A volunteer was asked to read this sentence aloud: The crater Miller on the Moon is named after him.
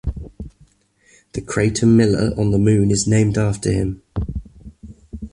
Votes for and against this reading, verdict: 2, 0, accepted